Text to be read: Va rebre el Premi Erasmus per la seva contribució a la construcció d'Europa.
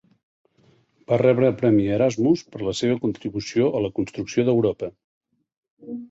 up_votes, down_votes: 2, 0